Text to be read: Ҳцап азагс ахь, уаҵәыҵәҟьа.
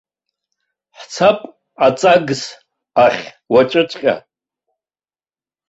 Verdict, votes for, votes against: rejected, 1, 3